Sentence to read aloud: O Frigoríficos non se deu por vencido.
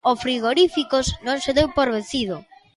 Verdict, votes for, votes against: accepted, 2, 0